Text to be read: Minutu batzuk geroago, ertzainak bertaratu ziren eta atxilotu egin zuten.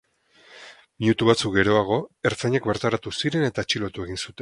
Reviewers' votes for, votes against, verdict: 0, 4, rejected